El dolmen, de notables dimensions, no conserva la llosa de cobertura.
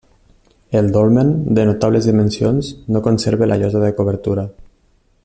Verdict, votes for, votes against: accepted, 2, 0